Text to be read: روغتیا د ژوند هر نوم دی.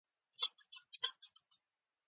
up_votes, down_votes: 1, 2